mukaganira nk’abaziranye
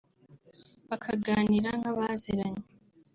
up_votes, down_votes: 1, 2